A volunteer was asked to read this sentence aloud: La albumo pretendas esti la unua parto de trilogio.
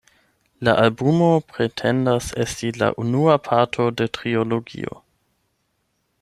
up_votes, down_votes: 4, 8